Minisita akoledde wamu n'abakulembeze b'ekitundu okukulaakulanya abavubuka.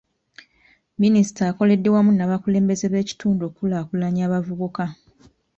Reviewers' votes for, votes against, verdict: 2, 1, accepted